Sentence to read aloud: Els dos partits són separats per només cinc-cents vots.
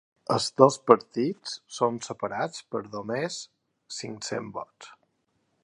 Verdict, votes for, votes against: accepted, 3, 0